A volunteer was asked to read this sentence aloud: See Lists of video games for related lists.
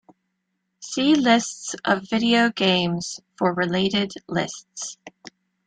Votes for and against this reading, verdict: 2, 0, accepted